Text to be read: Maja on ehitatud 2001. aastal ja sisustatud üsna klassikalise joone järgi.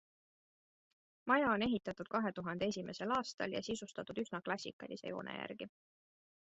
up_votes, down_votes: 0, 2